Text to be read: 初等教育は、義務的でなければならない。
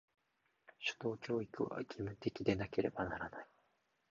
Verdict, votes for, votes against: rejected, 1, 2